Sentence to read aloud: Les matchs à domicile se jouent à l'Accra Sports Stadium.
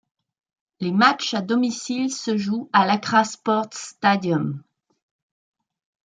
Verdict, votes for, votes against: accepted, 2, 0